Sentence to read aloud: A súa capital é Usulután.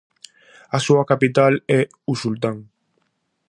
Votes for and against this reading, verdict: 0, 4, rejected